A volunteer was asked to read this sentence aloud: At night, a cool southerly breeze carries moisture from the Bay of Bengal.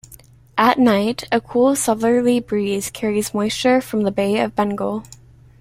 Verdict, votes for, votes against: rejected, 1, 2